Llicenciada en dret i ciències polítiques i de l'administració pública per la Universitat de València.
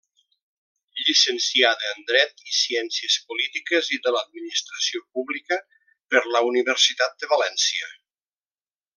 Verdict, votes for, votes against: accepted, 3, 0